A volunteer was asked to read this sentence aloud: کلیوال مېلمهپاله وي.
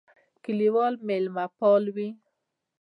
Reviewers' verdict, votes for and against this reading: rejected, 1, 2